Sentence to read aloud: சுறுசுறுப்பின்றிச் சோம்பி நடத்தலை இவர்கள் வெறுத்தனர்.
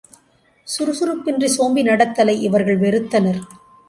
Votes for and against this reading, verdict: 2, 0, accepted